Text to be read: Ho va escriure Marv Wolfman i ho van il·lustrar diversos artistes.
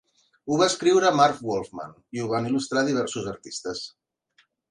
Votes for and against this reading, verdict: 2, 0, accepted